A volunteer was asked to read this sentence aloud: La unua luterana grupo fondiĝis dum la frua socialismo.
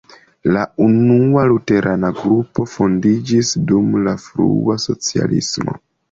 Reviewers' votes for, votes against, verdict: 2, 0, accepted